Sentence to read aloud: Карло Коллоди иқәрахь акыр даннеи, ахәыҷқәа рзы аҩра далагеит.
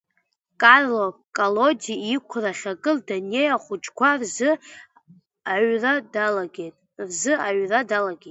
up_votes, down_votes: 0, 2